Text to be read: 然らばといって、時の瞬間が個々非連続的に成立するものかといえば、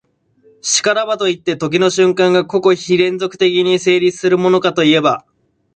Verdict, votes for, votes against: accepted, 2, 0